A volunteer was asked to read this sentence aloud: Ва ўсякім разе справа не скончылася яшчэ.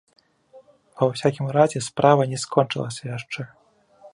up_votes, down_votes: 2, 0